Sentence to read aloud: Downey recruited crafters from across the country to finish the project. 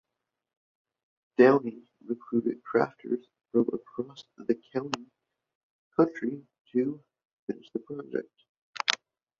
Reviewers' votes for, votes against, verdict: 0, 2, rejected